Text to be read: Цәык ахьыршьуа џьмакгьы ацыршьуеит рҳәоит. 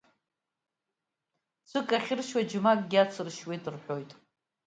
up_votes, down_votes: 2, 0